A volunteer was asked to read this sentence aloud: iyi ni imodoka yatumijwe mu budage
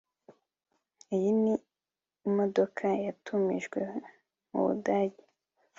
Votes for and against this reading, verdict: 3, 0, accepted